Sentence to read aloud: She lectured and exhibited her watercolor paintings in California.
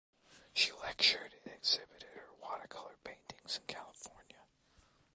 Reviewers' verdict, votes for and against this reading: rejected, 0, 2